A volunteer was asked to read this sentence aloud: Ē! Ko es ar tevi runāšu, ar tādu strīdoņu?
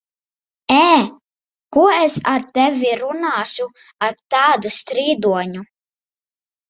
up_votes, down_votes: 6, 0